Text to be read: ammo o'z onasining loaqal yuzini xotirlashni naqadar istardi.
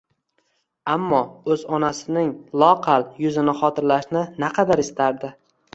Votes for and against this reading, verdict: 2, 0, accepted